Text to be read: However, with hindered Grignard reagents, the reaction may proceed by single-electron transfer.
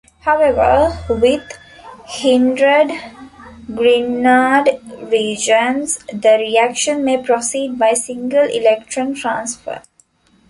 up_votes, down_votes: 1, 2